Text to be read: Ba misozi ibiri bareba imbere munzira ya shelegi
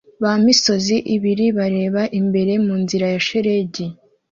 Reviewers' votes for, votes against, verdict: 2, 0, accepted